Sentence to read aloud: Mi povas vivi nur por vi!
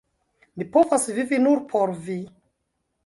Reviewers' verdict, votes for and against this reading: accepted, 2, 0